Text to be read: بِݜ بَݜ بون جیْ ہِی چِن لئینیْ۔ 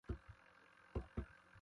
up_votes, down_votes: 0, 2